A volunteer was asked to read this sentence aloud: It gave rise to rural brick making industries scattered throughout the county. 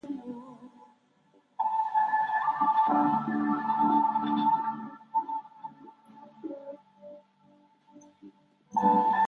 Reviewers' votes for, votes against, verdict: 0, 2, rejected